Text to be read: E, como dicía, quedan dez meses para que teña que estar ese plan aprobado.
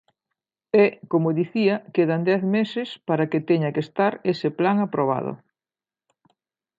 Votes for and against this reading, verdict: 2, 0, accepted